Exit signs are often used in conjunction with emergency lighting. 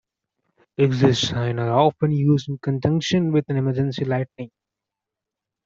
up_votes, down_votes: 0, 2